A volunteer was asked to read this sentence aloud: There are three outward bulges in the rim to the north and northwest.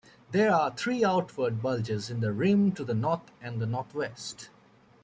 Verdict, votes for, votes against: rejected, 1, 2